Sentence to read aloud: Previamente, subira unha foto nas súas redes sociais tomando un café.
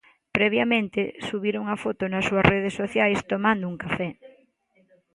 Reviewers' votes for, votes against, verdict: 2, 0, accepted